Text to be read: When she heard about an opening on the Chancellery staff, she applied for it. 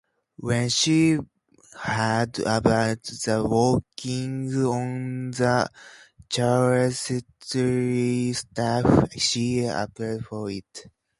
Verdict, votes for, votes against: rejected, 0, 2